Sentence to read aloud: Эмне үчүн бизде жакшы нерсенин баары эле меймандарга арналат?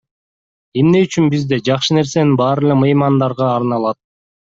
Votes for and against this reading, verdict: 2, 0, accepted